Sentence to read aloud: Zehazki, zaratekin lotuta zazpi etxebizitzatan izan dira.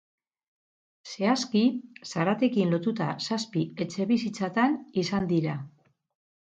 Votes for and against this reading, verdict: 0, 2, rejected